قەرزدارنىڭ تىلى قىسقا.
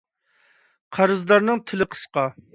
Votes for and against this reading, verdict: 2, 0, accepted